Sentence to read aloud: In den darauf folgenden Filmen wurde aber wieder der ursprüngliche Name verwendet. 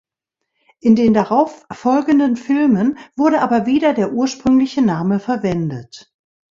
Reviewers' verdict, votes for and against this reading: accepted, 2, 0